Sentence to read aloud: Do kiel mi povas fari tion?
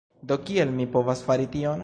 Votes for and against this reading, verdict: 2, 0, accepted